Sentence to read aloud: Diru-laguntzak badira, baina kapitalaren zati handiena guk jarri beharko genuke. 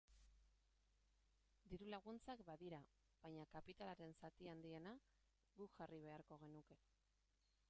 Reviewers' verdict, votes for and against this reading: rejected, 0, 2